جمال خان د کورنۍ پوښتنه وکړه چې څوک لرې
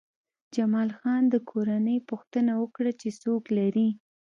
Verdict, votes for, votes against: accepted, 2, 0